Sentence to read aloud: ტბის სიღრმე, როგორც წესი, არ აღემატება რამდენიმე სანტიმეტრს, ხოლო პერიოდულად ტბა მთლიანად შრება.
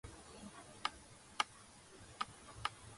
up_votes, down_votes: 1, 2